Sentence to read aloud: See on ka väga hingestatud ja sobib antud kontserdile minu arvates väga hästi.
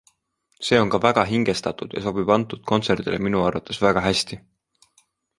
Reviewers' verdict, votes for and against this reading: accepted, 2, 0